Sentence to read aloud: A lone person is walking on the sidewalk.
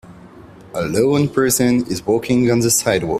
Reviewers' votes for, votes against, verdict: 1, 2, rejected